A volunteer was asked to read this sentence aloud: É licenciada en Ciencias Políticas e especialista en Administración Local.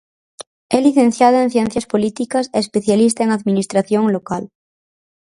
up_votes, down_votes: 2, 2